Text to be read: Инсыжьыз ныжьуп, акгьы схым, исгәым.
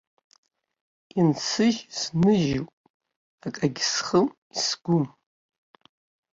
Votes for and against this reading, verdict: 0, 2, rejected